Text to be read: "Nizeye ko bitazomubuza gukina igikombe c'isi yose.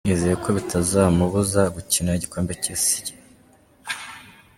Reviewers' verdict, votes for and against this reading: rejected, 1, 2